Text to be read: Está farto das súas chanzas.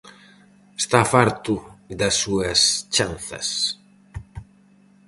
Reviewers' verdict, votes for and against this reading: accepted, 4, 0